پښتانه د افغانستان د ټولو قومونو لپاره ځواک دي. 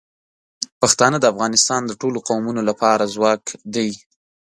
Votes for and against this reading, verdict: 2, 0, accepted